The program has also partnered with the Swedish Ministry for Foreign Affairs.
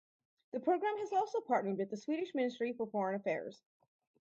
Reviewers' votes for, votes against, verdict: 4, 0, accepted